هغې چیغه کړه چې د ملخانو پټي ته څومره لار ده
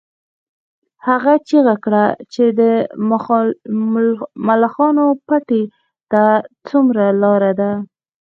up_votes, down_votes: 2, 0